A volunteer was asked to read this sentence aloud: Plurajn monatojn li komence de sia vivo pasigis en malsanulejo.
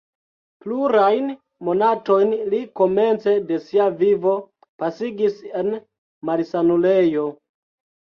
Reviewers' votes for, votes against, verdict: 1, 2, rejected